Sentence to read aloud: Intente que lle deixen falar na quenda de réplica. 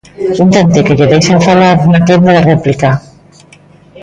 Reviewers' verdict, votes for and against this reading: rejected, 1, 2